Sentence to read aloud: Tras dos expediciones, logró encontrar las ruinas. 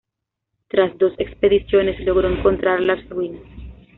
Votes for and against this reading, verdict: 2, 0, accepted